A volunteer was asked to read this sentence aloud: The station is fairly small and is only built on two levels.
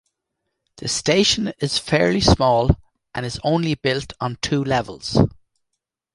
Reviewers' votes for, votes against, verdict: 2, 0, accepted